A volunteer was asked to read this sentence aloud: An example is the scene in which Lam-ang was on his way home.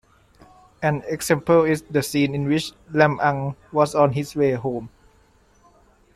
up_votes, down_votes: 2, 0